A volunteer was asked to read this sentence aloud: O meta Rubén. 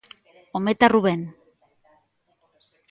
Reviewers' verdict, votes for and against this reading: rejected, 0, 2